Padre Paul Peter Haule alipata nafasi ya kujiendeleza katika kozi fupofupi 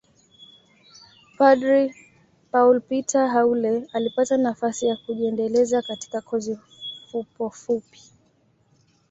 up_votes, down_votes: 2, 0